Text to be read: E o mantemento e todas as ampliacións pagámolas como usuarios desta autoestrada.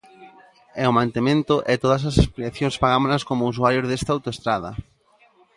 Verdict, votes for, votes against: rejected, 0, 2